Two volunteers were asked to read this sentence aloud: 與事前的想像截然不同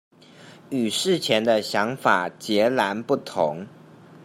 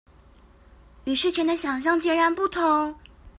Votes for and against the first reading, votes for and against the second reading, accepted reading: 0, 2, 2, 0, second